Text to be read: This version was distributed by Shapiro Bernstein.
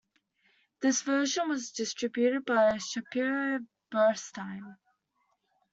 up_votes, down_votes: 2, 1